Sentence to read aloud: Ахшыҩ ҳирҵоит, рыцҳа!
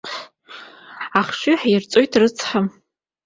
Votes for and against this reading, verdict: 2, 0, accepted